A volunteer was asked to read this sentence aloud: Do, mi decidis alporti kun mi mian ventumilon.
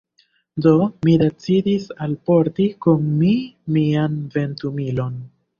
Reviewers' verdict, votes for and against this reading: rejected, 1, 2